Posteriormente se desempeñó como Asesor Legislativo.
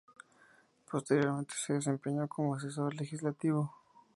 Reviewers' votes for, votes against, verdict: 2, 0, accepted